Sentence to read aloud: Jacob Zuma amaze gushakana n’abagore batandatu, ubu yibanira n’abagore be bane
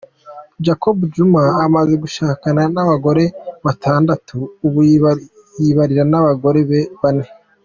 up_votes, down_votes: 2, 0